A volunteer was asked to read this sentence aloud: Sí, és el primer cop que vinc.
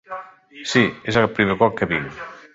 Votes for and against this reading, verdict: 3, 1, accepted